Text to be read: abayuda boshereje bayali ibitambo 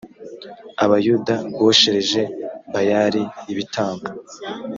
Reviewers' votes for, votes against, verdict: 2, 0, accepted